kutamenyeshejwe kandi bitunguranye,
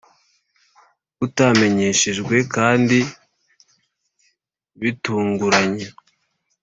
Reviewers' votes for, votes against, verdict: 2, 0, accepted